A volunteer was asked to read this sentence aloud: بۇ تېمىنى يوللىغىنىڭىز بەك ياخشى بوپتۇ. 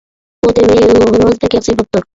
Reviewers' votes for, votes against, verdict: 0, 2, rejected